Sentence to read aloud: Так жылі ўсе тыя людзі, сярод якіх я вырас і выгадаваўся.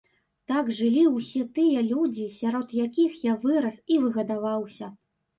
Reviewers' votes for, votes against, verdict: 0, 2, rejected